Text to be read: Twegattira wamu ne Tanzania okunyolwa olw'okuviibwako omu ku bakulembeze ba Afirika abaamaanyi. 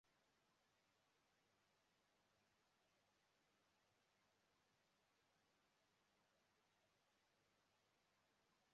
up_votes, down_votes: 0, 2